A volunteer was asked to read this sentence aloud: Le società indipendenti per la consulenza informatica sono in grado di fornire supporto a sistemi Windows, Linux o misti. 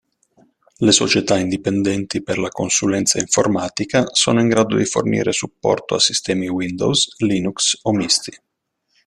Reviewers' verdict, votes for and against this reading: accepted, 2, 0